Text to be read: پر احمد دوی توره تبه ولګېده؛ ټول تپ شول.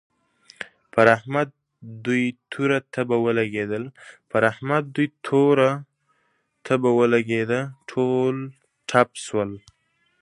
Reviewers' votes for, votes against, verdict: 0, 2, rejected